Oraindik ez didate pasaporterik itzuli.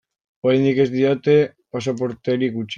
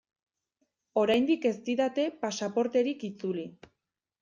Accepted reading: second